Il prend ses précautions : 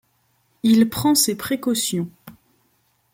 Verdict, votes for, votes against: accepted, 2, 0